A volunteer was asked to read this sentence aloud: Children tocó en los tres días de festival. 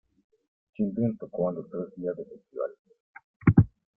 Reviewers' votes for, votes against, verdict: 0, 2, rejected